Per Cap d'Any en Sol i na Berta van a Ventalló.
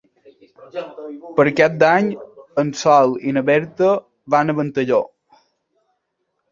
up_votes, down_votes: 2, 0